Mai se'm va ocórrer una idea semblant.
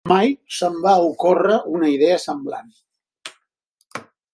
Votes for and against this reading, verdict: 4, 2, accepted